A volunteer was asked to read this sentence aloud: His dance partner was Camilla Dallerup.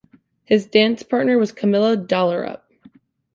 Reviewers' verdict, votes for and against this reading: accepted, 2, 0